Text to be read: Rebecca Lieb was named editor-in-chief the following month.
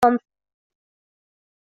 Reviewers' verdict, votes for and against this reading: rejected, 0, 2